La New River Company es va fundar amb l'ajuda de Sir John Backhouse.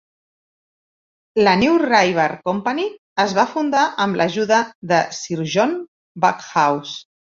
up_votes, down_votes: 2, 1